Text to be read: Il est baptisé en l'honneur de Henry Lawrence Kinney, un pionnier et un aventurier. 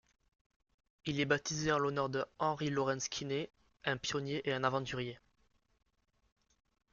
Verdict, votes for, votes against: accepted, 2, 0